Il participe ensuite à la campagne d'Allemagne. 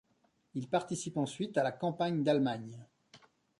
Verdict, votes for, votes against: accepted, 2, 0